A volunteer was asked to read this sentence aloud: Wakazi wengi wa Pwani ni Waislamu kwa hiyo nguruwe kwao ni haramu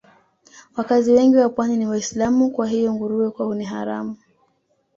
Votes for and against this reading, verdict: 2, 0, accepted